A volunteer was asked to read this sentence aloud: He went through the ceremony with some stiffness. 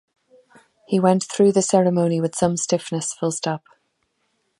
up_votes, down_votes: 1, 2